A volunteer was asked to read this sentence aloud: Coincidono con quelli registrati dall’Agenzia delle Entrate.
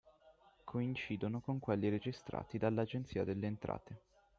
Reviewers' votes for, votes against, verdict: 6, 0, accepted